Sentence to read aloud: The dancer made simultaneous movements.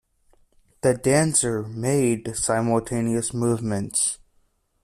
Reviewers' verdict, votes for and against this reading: accepted, 2, 0